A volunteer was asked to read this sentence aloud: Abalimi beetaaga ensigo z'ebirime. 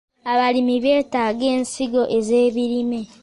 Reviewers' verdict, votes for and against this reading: rejected, 1, 2